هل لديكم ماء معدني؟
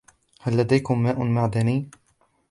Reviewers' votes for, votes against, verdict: 3, 1, accepted